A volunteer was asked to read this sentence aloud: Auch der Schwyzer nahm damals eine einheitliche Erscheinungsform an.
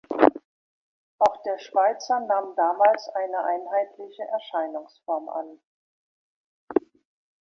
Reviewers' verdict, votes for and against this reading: rejected, 1, 2